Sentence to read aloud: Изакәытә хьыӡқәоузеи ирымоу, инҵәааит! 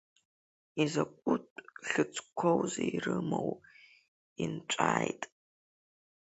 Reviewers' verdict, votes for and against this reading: accepted, 5, 3